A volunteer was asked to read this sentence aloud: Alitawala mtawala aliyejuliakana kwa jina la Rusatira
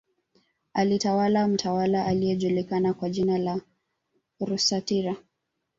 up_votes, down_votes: 1, 2